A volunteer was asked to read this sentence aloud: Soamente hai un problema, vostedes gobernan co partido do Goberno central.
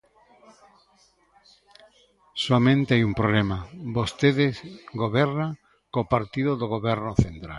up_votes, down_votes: 0, 2